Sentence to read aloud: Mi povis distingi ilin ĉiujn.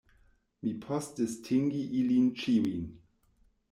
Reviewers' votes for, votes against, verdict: 0, 2, rejected